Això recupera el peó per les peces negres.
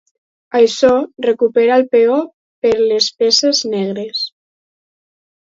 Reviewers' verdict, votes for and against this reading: accepted, 4, 0